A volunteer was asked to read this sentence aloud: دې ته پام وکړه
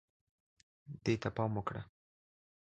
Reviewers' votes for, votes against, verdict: 2, 0, accepted